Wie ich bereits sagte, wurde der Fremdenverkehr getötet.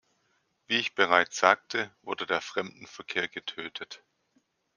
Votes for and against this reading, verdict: 2, 0, accepted